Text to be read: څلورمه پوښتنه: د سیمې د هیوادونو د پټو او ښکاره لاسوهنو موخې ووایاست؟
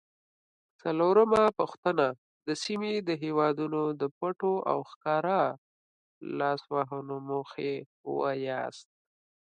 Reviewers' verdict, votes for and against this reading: accepted, 2, 0